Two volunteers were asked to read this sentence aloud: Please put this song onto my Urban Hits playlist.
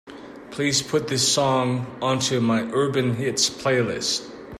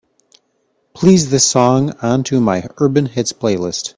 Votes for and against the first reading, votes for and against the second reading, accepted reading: 2, 0, 0, 3, first